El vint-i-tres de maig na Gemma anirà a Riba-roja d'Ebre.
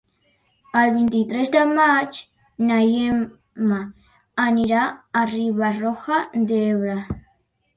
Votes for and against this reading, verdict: 0, 2, rejected